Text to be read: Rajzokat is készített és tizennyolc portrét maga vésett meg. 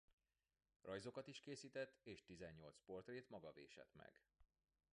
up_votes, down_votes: 1, 2